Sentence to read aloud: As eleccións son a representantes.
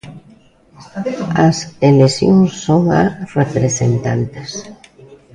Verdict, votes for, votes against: accepted, 2, 1